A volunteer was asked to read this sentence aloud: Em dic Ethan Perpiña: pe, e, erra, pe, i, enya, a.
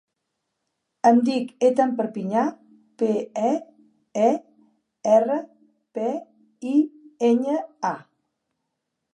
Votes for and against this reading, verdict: 0, 2, rejected